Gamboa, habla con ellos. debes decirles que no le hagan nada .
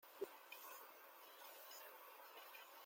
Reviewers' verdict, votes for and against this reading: rejected, 0, 2